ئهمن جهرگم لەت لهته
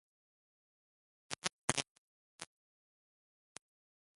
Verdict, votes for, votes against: rejected, 0, 2